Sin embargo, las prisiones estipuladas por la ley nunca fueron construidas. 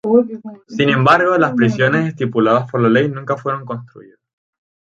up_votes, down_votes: 2, 0